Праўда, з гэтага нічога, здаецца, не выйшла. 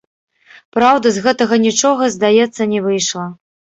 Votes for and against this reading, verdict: 1, 3, rejected